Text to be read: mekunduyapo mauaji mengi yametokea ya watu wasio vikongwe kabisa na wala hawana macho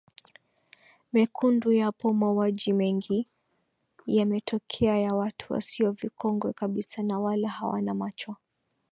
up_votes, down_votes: 2, 0